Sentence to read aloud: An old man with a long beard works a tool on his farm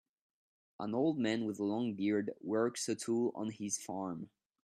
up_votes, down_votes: 2, 0